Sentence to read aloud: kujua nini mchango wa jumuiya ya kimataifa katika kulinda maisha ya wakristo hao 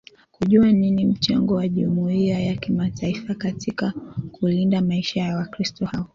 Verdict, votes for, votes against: accepted, 3, 0